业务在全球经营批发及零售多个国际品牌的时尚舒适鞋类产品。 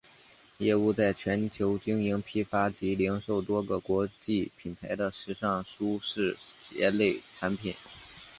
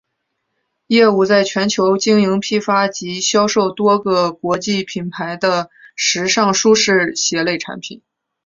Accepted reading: first